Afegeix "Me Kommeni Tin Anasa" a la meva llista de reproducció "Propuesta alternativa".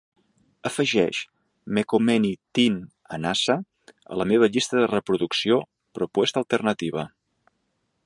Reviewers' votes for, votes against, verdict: 2, 1, accepted